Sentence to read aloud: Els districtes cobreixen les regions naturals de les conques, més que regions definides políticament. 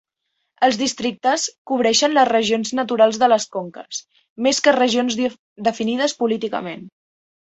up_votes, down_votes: 1, 2